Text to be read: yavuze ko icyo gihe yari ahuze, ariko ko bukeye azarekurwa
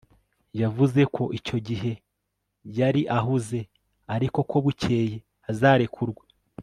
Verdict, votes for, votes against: accepted, 3, 0